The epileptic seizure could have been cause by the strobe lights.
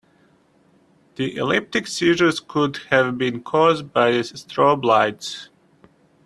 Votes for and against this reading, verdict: 0, 3, rejected